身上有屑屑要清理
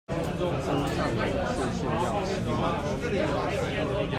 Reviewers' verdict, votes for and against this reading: rejected, 1, 2